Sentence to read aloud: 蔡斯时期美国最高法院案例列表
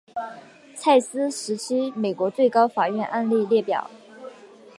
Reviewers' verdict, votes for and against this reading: accepted, 2, 0